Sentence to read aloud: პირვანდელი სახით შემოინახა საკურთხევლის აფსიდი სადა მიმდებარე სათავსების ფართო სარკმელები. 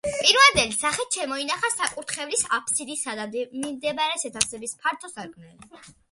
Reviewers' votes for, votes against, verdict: 2, 0, accepted